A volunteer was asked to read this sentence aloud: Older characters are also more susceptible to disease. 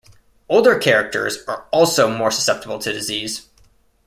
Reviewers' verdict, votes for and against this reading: accepted, 2, 0